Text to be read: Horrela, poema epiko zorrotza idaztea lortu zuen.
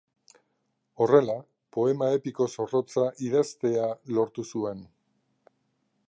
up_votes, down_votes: 3, 0